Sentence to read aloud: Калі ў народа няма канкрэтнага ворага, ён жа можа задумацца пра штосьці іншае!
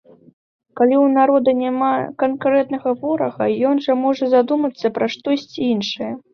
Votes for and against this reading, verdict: 2, 0, accepted